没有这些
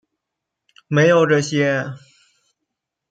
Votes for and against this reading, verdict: 2, 0, accepted